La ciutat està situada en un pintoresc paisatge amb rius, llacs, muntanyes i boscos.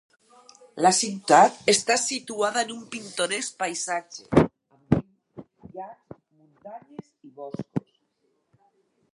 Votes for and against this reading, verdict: 0, 4, rejected